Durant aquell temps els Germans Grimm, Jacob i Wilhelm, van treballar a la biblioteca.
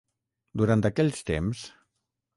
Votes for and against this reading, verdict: 0, 6, rejected